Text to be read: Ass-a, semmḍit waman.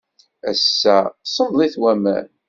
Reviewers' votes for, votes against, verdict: 2, 0, accepted